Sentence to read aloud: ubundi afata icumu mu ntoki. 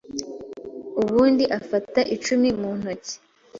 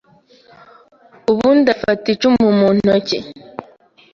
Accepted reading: second